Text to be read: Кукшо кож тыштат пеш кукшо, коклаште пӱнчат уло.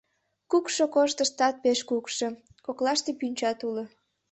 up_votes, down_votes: 2, 0